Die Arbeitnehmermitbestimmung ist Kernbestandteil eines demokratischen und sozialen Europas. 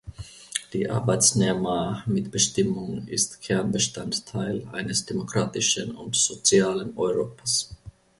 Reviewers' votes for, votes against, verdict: 2, 1, accepted